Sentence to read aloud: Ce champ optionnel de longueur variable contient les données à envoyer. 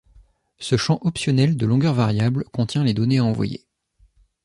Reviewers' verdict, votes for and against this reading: accepted, 2, 0